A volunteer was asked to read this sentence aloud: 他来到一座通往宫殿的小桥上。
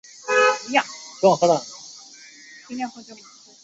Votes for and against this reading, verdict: 1, 2, rejected